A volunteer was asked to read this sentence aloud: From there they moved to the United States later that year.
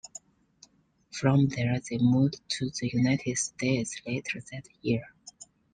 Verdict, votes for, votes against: accepted, 2, 0